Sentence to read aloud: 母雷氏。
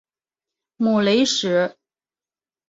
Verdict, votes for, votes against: rejected, 1, 2